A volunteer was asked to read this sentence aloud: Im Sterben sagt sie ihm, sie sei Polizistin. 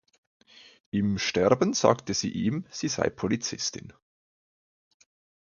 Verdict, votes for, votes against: rejected, 0, 2